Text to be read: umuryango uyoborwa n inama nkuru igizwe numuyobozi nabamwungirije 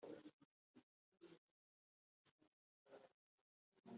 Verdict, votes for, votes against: rejected, 1, 2